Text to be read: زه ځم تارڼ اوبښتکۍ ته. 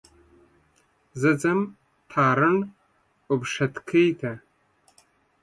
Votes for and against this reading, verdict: 2, 0, accepted